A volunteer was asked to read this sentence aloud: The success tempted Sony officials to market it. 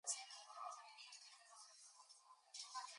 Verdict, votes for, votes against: rejected, 0, 2